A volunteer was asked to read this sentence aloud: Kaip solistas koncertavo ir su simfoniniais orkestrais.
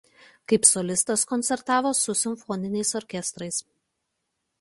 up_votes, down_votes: 0, 2